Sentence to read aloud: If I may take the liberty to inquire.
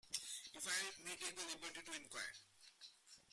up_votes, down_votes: 1, 2